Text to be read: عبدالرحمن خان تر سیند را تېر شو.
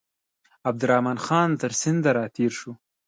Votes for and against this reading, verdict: 2, 0, accepted